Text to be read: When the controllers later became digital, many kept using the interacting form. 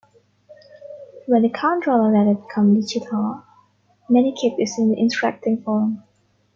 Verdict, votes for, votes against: rejected, 0, 2